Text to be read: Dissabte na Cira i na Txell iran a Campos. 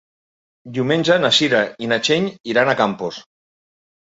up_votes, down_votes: 1, 2